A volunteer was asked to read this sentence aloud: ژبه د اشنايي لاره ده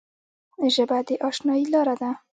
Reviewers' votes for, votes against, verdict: 0, 2, rejected